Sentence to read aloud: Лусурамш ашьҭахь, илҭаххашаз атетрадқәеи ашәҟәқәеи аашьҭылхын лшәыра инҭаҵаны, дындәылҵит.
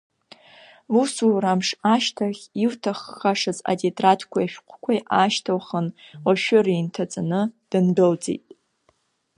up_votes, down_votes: 2, 0